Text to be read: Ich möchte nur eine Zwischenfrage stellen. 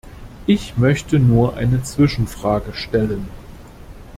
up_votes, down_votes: 2, 1